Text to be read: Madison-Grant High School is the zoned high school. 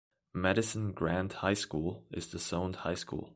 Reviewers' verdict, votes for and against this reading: rejected, 1, 2